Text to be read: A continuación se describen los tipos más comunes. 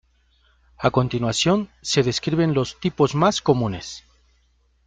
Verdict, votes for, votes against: accepted, 2, 0